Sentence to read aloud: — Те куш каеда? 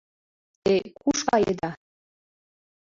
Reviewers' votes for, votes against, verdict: 2, 0, accepted